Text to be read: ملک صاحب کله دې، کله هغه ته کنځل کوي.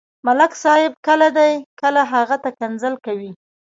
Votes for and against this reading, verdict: 1, 2, rejected